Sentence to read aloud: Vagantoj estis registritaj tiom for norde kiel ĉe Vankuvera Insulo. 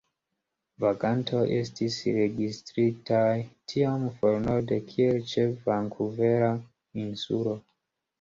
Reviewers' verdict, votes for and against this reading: accepted, 2, 0